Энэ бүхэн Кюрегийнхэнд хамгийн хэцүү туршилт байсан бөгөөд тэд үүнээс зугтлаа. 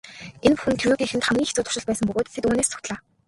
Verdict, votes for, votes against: rejected, 0, 2